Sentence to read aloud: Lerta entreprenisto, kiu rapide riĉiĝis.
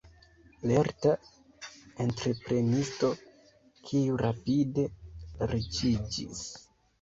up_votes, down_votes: 1, 2